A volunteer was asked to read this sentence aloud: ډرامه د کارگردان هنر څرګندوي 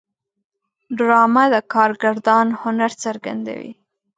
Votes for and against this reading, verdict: 2, 0, accepted